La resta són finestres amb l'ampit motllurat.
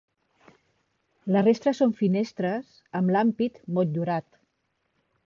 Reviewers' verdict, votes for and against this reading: rejected, 2, 3